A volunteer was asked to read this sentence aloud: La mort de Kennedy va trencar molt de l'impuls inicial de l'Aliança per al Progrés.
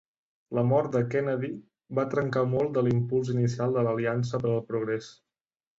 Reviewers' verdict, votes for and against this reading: accepted, 3, 0